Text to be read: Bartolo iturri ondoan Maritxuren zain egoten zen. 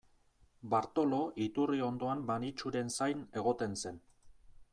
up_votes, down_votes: 2, 0